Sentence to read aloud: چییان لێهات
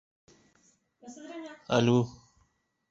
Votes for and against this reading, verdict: 0, 2, rejected